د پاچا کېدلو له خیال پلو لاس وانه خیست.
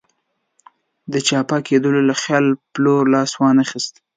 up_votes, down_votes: 1, 2